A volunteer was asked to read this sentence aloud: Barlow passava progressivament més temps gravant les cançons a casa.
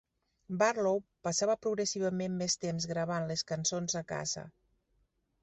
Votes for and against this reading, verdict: 3, 0, accepted